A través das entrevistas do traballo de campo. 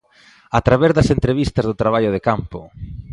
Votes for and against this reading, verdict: 2, 0, accepted